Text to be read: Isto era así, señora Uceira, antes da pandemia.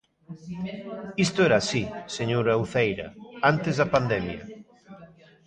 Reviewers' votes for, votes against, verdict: 2, 1, accepted